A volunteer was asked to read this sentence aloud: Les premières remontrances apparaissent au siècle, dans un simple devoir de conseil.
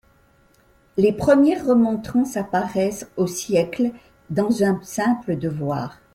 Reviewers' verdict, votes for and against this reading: rejected, 0, 2